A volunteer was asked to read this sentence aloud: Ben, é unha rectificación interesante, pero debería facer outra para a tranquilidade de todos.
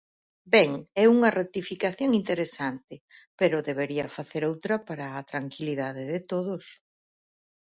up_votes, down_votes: 4, 0